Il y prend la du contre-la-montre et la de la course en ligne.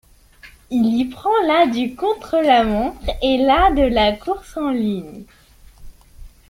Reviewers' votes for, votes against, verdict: 1, 2, rejected